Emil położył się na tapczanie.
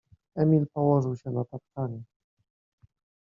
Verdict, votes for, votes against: accepted, 2, 0